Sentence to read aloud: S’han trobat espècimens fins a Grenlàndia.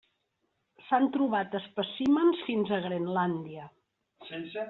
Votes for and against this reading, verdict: 2, 0, accepted